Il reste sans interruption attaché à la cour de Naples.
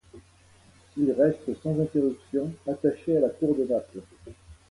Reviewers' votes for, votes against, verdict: 2, 0, accepted